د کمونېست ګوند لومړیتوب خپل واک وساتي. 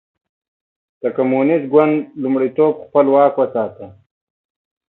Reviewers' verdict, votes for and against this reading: accepted, 2, 0